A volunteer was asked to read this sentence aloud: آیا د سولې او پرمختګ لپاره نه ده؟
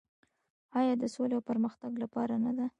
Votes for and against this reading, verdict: 2, 0, accepted